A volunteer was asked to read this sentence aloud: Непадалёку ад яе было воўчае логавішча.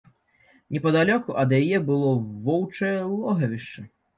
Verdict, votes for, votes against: accepted, 3, 0